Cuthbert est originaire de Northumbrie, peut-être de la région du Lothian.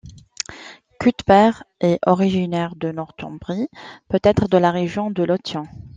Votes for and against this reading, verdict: 0, 2, rejected